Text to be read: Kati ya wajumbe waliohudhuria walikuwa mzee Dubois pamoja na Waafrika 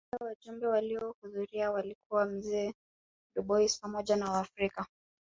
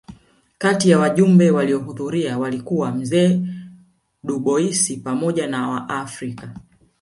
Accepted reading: first